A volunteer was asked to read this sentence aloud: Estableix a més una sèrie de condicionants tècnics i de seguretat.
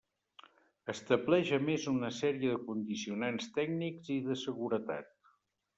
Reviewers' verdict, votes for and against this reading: rejected, 0, 2